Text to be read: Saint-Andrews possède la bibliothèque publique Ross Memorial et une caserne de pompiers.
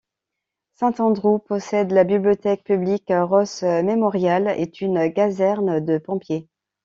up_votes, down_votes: 2, 3